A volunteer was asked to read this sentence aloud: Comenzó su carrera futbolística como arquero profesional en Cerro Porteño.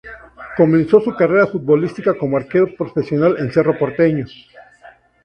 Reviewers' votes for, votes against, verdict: 2, 0, accepted